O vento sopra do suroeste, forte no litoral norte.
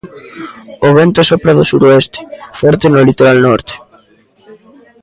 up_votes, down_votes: 1, 2